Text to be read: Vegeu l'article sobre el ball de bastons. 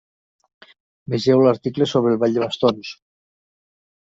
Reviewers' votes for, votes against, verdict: 2, 0, accepted